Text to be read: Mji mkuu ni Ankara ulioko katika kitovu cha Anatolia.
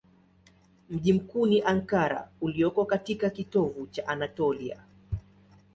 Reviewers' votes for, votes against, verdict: 2, 0, accepted